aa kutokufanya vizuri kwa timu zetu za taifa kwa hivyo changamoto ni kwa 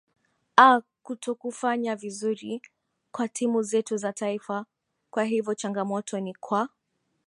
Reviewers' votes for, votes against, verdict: 2, 1, accepted